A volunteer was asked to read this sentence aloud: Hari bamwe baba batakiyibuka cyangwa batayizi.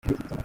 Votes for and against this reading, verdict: 0, 2, rejected